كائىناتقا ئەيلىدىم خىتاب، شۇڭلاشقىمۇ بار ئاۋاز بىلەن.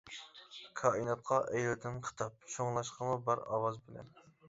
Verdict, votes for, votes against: rejected, 0, 2